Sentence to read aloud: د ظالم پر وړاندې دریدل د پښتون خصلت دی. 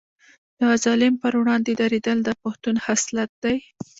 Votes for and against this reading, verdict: 1, 2, rejected